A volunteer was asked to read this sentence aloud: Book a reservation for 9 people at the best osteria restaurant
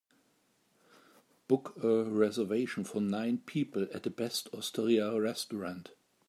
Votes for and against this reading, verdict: 0, 2, rejected